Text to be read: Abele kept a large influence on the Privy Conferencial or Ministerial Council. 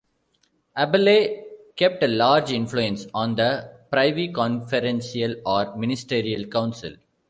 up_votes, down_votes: 2, 0